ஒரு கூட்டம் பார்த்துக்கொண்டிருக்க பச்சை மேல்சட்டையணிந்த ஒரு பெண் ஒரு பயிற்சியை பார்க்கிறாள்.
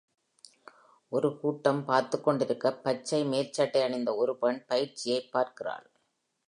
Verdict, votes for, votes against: rejected, 1, 2